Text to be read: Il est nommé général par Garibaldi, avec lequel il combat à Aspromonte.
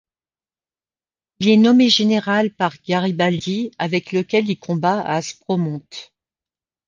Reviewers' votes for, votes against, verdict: 2, 0, accepted